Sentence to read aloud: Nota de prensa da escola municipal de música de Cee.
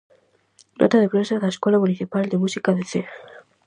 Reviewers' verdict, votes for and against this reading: accepted, 4, 0